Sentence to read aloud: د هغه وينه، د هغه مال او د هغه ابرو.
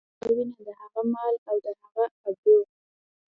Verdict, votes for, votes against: accepted, 2, 0